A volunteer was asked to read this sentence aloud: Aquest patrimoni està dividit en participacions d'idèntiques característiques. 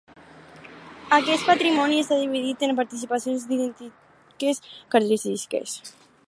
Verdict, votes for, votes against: rejected, 0, 4